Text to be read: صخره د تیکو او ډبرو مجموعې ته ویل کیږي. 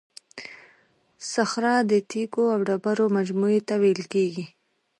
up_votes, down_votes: 2, 0